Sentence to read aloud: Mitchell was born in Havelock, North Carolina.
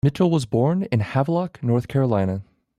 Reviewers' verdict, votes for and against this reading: rejected, 1, 2